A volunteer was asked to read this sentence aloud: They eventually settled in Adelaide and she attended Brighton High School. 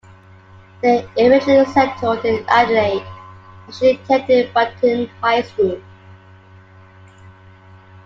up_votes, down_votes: 1, 2